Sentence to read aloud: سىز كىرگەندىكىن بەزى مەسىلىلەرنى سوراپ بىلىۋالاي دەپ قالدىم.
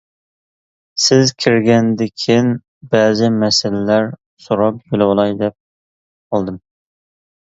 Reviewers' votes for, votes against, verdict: 0, 2, rejected